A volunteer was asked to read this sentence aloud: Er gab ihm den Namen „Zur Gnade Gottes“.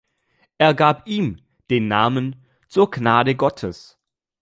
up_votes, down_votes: 2, 0